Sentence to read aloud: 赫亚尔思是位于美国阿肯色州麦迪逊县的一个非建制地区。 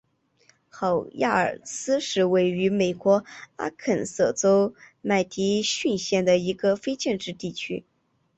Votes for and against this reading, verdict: 2, 0, accepted